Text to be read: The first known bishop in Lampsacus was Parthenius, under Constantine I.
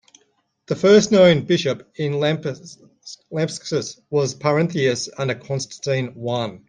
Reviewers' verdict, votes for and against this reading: rejected, 0, 2